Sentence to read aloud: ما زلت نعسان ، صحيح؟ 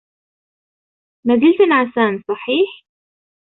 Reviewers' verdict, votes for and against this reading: accepted, 2, 0